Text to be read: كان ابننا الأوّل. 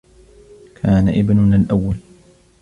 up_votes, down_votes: 2, 1